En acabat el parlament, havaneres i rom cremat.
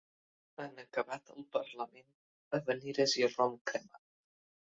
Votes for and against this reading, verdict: 0, 2, rejected